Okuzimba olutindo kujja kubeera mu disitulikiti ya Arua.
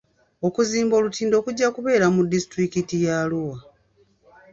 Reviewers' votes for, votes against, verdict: 1, 2, rejected